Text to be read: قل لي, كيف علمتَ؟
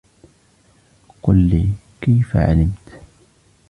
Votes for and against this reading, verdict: 0, 2, rejected